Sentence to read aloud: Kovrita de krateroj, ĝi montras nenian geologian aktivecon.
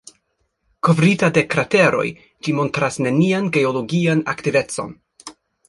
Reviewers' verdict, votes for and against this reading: rejected, 1, 2